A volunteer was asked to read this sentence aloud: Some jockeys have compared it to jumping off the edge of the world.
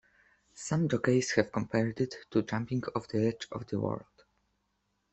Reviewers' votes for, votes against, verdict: 3, 1, accepted